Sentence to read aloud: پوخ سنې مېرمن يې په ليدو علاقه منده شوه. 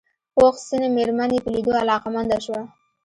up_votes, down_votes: 1, 2